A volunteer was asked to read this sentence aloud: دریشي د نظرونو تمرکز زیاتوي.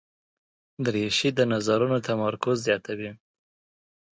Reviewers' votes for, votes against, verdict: 2, 0, accepted